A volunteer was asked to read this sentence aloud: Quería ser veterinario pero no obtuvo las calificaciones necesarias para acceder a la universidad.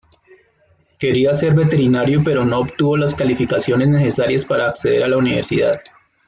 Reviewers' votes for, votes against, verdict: 2, 0, accepted